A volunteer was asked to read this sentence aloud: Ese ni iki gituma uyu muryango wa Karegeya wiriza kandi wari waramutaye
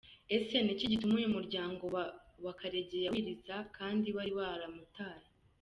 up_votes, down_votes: 0, 2